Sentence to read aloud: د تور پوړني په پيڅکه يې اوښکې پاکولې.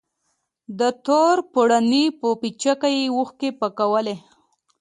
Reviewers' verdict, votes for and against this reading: accepted, 2, 0